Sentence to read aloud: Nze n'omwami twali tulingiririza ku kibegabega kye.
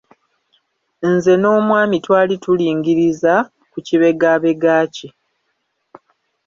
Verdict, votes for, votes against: rejected, 1, 2